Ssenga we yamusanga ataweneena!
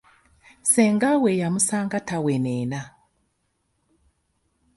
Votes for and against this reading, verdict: 2, 0, accepted